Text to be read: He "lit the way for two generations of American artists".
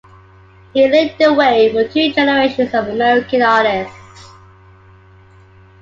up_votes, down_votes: 2, 1